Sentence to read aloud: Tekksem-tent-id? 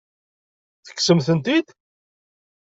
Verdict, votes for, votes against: accepted, 2, 0